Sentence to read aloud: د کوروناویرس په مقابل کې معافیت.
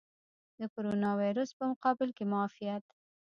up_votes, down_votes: 1, 2